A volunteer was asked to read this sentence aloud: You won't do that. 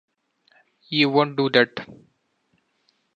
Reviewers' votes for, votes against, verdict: 2, 0, accepted